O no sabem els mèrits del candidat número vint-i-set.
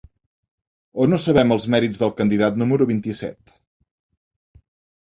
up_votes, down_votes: 2, 0